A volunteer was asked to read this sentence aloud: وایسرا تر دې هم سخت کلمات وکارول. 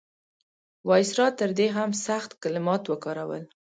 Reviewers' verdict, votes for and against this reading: accepted, 2, 0